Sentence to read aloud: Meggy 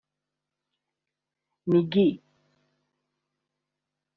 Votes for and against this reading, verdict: 2, 1, accepted